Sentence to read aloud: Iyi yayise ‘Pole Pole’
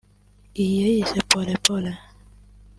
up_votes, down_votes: 2, 0